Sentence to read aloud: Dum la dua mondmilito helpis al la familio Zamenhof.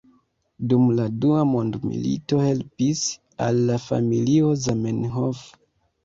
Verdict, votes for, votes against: accepted, 2, 0